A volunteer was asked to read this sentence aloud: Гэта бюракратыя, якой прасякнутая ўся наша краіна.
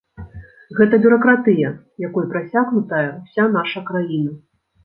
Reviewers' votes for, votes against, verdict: 0, 2, rejected